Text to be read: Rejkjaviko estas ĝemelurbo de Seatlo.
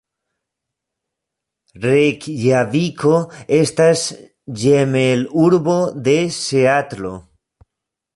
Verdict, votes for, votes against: rejected, 0, 2